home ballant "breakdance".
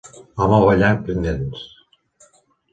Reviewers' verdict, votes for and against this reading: rejected, 1, 2